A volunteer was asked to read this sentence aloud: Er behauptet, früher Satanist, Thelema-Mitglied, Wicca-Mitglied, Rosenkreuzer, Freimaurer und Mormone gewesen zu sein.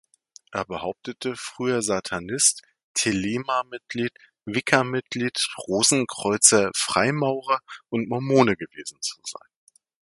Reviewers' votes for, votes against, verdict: 0, 2, rejected